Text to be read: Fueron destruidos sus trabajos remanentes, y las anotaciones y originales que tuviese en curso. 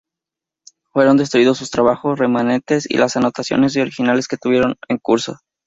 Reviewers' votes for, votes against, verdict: 2, 0, accepted